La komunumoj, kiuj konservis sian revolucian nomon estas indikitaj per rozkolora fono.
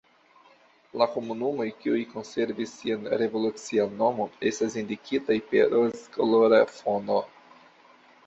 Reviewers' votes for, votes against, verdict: 2, 1, accepted